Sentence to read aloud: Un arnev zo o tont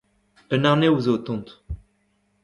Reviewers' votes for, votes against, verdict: 2, 0, accepted